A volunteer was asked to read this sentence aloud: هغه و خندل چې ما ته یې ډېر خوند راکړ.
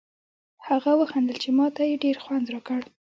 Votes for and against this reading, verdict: 1, 2, rejected